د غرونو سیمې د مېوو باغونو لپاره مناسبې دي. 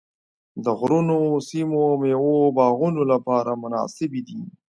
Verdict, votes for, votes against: rejected, 1, 2